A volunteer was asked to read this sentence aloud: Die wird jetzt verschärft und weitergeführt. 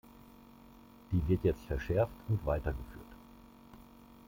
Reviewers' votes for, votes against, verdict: 0, 2, rejected